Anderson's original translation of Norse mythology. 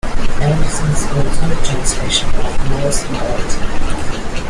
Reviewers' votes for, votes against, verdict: 1, 2, rejected